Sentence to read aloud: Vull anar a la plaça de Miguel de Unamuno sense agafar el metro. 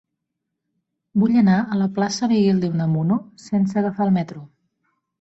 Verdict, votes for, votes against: rejected, 1, 2